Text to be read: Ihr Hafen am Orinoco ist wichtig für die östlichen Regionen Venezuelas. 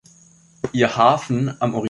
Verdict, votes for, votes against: rejected, 0, 2